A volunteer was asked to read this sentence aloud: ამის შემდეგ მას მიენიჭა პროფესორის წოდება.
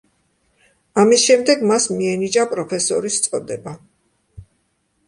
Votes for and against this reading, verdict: 2, 0, accepted